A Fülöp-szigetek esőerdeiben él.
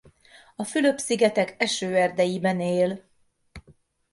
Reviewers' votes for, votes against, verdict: 2, 0, accepted